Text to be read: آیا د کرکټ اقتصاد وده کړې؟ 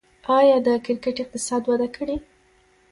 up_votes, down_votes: 2, 0